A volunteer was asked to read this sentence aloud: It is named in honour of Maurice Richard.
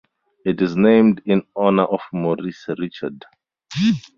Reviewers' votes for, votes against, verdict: 4, 0, accepted